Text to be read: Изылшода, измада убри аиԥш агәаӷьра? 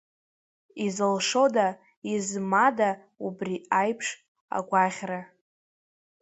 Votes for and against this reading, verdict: 0, 2, rejected